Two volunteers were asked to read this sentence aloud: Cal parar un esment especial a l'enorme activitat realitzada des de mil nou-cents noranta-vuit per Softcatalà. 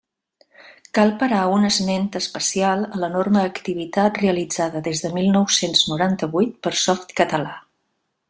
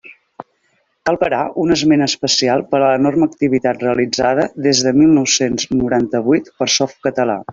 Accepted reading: first